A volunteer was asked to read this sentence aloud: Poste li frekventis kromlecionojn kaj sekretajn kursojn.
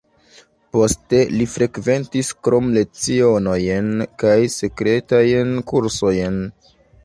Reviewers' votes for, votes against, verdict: 1, 2, rejected